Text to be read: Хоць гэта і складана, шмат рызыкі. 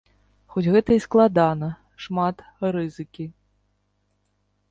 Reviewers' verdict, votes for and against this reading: accepted, 2, 0